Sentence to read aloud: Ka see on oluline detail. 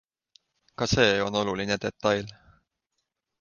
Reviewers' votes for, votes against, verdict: 2, 0, accepted